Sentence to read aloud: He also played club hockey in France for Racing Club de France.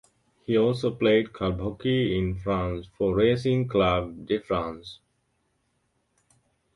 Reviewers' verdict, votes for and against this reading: accepted, 2, 0